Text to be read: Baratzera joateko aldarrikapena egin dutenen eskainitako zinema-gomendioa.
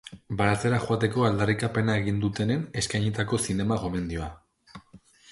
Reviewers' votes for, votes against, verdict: 3, 0, accepted